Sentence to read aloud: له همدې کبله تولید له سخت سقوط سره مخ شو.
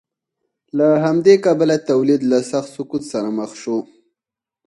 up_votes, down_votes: 2, 4